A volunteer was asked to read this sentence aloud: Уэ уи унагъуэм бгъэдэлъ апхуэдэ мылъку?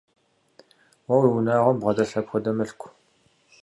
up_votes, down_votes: 2, 0